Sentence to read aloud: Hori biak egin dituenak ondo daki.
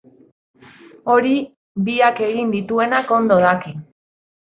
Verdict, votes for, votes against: accepted, 3, 1